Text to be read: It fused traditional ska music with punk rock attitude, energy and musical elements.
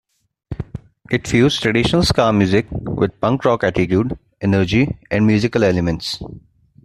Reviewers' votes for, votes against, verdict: 2, 0, accepted